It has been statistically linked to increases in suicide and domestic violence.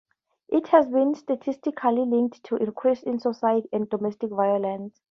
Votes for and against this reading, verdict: 2, 0, accepted